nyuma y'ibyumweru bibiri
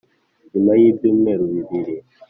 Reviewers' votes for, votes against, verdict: 2, 0, accepted